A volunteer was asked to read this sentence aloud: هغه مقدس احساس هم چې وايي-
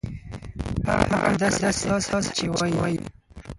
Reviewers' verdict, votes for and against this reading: rejected, 2, 4